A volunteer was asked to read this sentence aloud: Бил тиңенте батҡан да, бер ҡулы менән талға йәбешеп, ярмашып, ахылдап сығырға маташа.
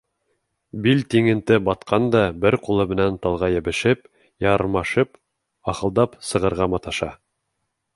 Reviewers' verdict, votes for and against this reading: accepted, 2, 0